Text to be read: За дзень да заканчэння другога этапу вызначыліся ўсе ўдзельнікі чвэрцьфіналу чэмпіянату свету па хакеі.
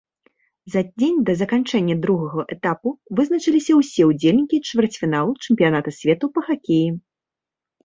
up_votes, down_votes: 2, 4